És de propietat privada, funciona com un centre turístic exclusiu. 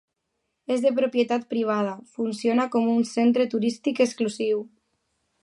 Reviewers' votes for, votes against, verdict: 2, 0, accepted